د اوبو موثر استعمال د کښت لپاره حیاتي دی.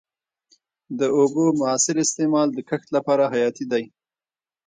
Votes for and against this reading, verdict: 1, 2, rejected